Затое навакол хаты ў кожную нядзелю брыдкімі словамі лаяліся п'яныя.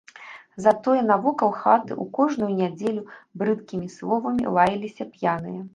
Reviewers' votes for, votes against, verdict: 0, 3, rejected